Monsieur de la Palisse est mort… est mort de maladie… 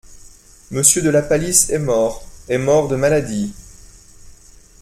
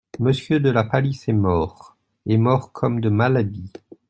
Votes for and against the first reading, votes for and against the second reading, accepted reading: 2, 0, 0, 2, first